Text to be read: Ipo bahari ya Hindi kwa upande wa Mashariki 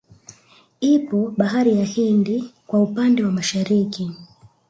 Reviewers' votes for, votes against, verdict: 0, 2, rejected